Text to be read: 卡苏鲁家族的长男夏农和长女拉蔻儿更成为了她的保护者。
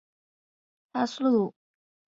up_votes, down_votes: 1, 2